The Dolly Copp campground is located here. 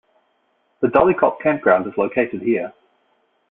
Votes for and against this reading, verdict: 2, 0, accepted